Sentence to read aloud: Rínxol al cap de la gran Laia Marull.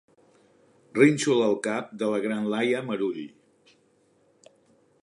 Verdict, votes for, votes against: accepted, 3, 0